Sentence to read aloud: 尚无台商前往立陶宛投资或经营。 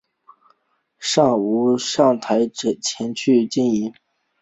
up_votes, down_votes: 3, 1